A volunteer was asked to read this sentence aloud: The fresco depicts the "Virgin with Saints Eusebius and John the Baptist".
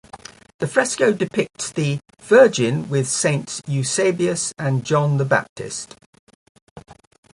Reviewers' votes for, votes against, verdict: 2, 0, accepted